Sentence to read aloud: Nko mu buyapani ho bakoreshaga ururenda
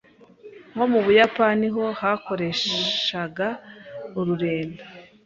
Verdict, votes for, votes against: rejected, 1, 2